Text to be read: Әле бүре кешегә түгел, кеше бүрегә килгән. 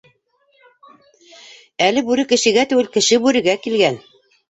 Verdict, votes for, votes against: accepted, 2, 1